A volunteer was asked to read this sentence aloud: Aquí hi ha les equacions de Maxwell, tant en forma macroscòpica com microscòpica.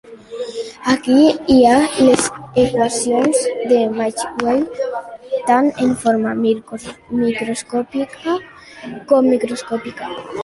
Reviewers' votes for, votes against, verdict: 0, 2, rejected